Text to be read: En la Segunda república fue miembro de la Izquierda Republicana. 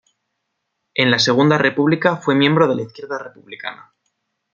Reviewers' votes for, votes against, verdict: 2, 0, accepted